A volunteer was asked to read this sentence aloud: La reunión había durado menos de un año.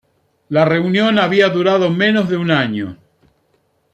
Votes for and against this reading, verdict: 2, 0, accepted